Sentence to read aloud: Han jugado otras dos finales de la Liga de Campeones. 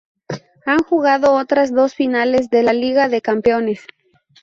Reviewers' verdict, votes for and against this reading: rejected, 0, 2